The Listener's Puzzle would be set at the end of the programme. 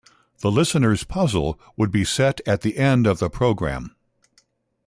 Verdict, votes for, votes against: accepted, 2, 1